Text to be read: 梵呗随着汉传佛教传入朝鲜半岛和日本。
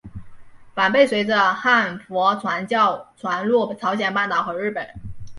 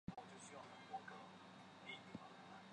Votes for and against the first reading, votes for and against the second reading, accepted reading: 3, 1, 1, 5, first